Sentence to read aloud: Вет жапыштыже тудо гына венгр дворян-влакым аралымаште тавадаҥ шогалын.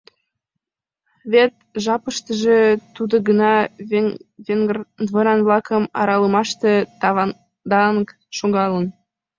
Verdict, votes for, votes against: rejected, 1, 2